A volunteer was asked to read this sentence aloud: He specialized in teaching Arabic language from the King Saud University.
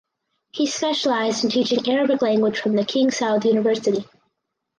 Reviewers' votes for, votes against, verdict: 4, 0, accepted